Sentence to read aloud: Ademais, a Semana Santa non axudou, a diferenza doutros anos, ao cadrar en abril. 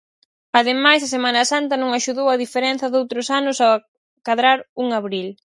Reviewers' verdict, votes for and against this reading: rejected, 0, 4